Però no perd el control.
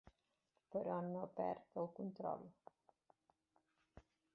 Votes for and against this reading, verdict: 2, 0, accepted